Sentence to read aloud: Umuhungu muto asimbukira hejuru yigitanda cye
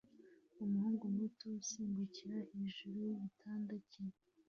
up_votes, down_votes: 0, 2